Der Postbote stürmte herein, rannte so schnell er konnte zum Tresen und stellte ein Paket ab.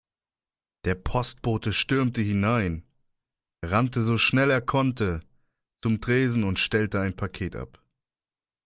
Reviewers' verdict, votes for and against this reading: rejected, 1, 2